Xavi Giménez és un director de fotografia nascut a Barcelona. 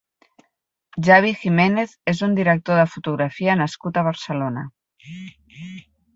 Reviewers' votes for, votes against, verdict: 0, 4, rejected